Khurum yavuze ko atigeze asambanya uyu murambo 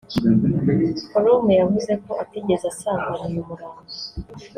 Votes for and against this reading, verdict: 0, 2, rejected